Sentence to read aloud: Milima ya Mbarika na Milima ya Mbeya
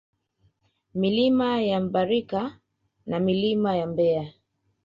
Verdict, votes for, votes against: accepted, 2, 0